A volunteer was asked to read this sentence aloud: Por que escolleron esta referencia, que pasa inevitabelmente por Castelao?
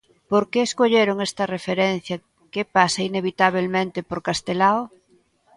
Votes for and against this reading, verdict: 2, 1, accepted